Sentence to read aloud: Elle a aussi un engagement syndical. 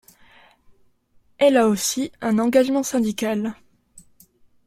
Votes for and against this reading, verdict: 2, 0, accepted